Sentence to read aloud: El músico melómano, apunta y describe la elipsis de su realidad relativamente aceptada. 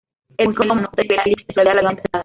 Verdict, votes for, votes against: rejected, 0, 2